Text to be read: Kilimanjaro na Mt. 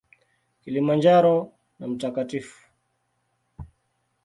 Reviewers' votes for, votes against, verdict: 2, 1, accepted